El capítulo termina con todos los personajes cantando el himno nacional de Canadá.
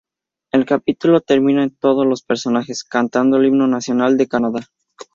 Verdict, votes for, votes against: accepted, 4, 2